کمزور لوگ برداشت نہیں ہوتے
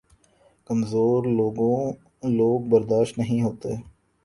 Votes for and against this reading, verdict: 0, 2, rejected